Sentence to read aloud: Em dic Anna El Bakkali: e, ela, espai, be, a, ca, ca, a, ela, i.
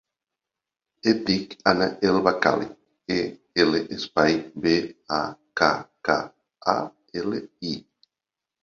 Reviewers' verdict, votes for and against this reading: accepted, 2, 0